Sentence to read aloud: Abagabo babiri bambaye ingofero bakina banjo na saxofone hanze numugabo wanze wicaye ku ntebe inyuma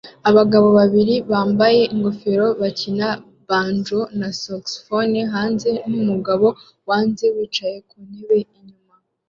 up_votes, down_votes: 2, 1